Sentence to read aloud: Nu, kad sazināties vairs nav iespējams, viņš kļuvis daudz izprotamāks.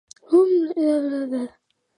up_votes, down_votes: 0, 2